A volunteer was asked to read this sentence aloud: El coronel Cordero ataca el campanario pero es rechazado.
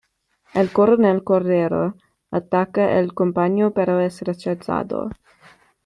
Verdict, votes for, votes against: rejected, 1, 2